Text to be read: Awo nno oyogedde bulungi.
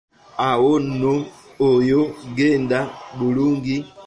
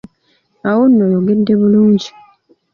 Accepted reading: second